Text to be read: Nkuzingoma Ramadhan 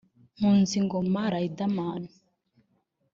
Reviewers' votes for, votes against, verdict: 0, 2, rejected